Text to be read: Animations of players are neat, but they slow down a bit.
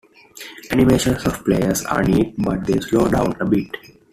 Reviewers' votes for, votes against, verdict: 2, 1, accepted